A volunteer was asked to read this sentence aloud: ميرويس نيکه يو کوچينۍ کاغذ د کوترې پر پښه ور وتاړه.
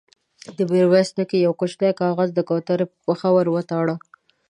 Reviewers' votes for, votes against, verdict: 2, 0, accepted